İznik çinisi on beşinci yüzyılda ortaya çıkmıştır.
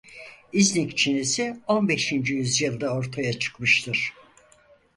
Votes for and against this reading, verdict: 4, 0, accepted